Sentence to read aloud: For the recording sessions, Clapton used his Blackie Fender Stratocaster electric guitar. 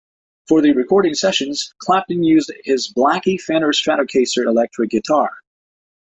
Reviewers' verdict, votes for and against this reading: rejected, 0, 2